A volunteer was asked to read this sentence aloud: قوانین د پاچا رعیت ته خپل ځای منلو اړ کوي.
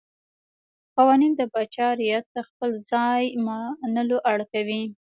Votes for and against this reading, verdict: 2, 0, accepted